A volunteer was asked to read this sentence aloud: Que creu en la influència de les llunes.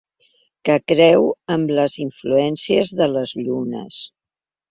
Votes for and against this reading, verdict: 0, 2, rejected